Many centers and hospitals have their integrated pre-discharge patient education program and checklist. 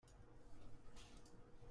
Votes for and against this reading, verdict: 0, 2, rejected